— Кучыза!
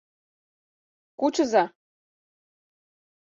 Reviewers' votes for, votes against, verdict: 6, 0, accepted